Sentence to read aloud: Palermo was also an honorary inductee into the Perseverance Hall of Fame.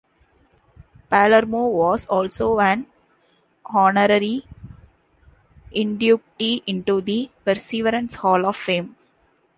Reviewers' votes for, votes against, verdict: 1, 2, rejected